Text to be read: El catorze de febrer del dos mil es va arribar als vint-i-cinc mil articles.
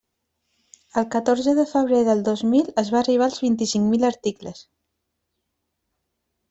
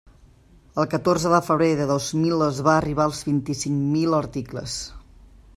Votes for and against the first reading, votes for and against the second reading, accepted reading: 3, 0, 0, 2, first